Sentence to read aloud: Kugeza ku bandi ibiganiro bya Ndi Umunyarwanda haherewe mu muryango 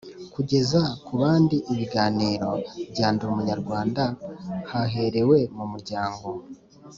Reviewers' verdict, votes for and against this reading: accepted, 2, 0